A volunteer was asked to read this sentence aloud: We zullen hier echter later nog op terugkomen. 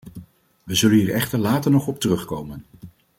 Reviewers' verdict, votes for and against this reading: accepted, 2, 0